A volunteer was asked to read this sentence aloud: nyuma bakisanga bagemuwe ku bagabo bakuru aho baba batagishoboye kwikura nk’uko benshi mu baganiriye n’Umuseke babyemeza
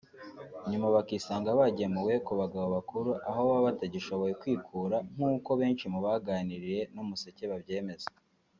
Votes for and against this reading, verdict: 3, 0, accepted